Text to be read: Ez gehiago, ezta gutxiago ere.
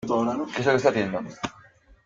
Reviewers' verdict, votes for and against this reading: rejected, 0, 2